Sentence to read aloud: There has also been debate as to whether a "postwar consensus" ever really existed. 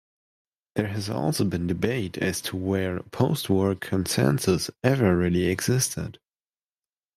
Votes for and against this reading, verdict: 1, 3, rejected